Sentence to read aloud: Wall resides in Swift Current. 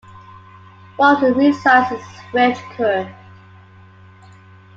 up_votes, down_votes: 2, 0